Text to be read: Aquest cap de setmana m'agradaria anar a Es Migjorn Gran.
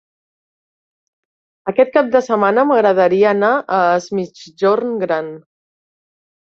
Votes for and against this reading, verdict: 0, 2, rejected